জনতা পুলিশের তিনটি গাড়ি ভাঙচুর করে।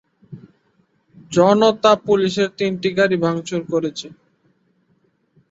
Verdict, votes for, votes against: rejected, 0, 2